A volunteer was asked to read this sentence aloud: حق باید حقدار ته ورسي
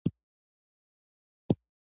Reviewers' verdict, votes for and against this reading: rejected, 0, 2